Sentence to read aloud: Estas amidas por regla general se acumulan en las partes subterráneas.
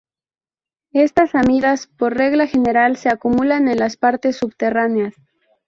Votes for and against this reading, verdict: 0, 2, rejected